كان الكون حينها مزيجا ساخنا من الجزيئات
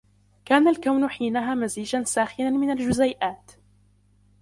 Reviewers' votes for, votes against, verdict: 2, 0, accepted